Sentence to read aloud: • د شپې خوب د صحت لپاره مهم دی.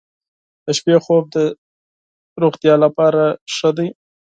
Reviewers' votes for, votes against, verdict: 2, 4, rejected